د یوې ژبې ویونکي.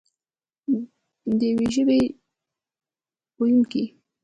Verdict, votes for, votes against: rejected, 1, 2